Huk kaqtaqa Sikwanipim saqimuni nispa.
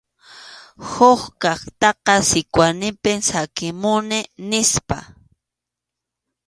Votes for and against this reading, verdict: 2, 0, accepted